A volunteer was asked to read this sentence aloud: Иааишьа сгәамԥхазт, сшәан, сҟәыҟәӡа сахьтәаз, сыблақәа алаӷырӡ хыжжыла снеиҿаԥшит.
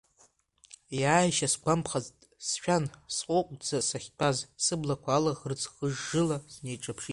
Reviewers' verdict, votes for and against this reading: accepted, 2, 0